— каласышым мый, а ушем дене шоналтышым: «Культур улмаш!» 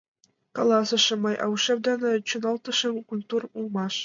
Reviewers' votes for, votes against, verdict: 0, 2, rejected